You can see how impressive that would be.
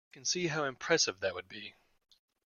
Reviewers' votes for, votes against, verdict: 0, 2, rejected